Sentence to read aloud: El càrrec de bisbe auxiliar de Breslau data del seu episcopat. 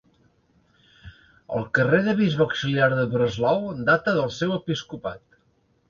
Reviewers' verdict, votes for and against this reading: rejected, 0, 2